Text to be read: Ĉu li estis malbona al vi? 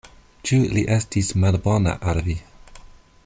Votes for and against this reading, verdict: 2, 0, accepted